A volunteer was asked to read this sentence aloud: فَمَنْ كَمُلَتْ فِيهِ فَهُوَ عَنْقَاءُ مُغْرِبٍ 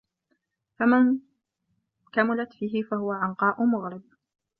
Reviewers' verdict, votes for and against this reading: accepted, 2, 0